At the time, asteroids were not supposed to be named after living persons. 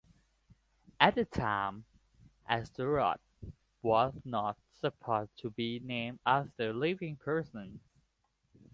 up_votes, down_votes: 2, 1